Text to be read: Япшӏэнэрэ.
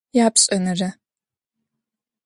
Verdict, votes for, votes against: accepted, 2, 0